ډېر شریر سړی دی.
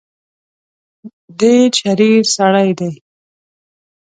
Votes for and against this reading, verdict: 2, 0, accepted